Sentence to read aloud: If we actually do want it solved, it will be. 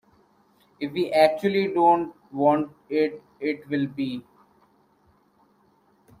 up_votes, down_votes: 0, 2